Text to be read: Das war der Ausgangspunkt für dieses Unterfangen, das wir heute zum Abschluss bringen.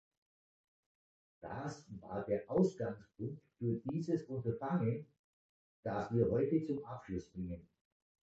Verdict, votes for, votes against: rejected, 1, 2